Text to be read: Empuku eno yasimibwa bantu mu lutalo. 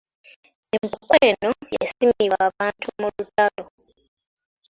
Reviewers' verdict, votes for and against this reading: accepted, 3, 1